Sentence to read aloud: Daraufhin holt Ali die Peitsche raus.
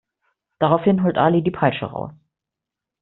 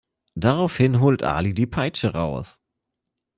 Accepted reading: second